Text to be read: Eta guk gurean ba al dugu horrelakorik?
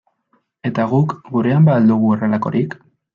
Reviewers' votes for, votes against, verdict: 2, 0, accepted